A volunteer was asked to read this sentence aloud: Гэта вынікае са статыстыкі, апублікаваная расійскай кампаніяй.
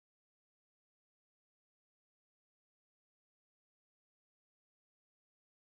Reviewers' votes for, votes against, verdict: 1, 3, rejected